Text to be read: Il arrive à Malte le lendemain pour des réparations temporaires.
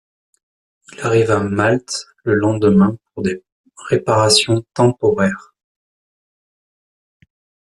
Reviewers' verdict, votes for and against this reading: rejected, 1, 2